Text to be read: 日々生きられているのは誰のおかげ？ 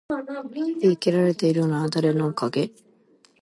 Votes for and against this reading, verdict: 2, 0, accepted